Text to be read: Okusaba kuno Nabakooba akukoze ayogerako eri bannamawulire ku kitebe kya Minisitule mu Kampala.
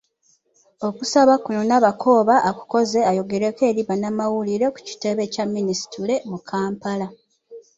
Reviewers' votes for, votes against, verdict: 2, 0, accepted